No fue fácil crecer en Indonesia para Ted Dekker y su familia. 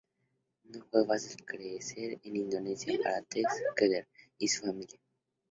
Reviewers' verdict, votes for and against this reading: rejected, 0, 2